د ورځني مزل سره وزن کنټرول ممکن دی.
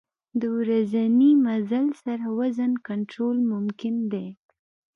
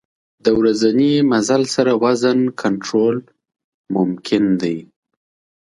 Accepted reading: second